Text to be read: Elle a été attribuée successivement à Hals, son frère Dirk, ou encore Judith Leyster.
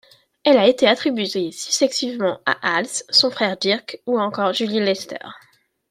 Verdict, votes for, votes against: rejected, 1, 2